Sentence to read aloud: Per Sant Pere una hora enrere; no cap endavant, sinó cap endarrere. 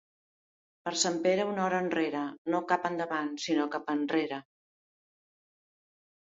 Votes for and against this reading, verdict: 2, 0, accepted